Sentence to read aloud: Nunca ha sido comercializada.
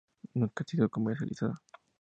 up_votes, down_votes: 2, 2